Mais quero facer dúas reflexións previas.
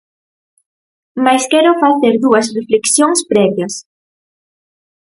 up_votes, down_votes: 4, 0